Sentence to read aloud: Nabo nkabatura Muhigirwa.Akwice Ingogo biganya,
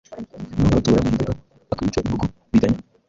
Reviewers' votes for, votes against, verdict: 0, 2, rejected